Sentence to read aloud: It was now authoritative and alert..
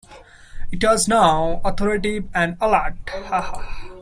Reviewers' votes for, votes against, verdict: 0, 2, rejected